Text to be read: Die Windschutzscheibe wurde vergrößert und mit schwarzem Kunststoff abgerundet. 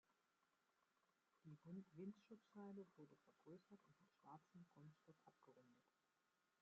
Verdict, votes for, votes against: rejected, 0, 2